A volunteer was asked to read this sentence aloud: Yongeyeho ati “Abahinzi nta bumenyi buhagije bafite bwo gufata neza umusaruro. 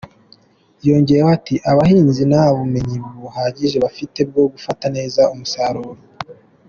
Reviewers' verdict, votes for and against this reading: accepted, 2, 0